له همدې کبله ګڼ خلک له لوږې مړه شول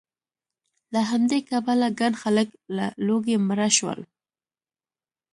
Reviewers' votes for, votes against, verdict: 2, 0, accepted